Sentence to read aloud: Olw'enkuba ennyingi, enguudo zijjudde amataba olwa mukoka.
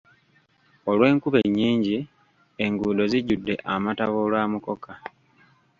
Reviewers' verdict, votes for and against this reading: accepted, 2, 1